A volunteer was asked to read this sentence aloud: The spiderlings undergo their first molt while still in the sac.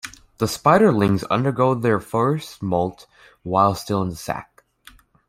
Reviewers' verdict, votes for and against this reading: accepted, 2, 0